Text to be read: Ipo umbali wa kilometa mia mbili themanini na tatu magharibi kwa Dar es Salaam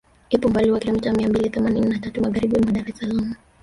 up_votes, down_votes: 1, 2